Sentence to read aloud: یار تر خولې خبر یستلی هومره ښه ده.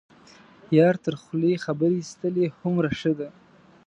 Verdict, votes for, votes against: accepted, 2, 0